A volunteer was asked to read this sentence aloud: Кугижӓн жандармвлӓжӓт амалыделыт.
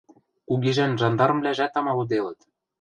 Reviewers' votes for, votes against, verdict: 2, 0, accepted